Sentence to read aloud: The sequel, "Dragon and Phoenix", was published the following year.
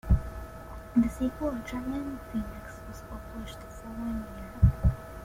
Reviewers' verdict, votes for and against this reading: rejected, 1, 2